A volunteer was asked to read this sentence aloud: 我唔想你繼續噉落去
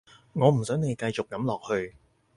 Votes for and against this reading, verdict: 4, 0, accepted